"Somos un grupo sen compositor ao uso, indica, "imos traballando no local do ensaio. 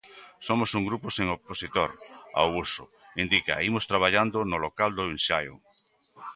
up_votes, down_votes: 0, 2